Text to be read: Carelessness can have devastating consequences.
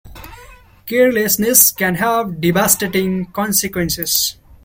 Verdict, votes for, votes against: accepted, 2, 0